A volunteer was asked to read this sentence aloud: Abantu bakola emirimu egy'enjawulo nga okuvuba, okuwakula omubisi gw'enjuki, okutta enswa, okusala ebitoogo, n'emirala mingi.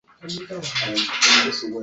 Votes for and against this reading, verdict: 0, 2, rejected